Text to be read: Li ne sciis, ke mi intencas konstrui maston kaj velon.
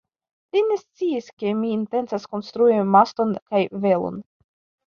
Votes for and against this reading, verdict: 2, 0, accepted